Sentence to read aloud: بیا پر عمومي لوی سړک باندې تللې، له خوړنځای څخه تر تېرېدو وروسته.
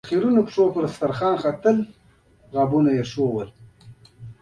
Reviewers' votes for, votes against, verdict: 1, 2, rejected